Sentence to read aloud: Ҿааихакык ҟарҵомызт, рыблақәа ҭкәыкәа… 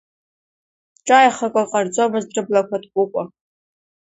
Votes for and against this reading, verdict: 2, 1, accepted